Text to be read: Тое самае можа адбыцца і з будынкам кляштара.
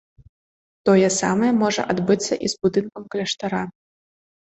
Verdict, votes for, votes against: rejected, 1, 2